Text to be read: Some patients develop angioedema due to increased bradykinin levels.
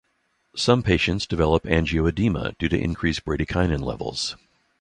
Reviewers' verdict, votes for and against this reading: rejected, 0, 3